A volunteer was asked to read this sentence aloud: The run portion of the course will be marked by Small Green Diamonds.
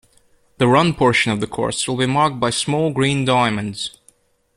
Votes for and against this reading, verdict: 2, 0, accepted